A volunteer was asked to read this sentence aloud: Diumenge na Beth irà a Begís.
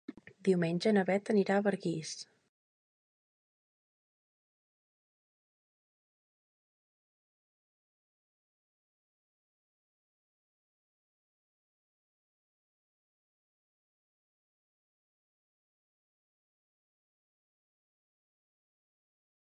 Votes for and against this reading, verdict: 1, 3, rejected